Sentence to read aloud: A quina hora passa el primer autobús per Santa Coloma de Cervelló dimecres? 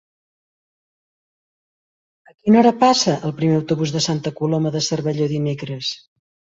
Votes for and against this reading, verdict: 0, 2, rejected